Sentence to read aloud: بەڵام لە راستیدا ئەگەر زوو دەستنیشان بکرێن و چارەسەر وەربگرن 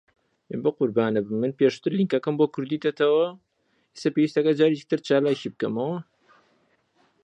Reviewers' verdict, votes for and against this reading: rejected, 0, 2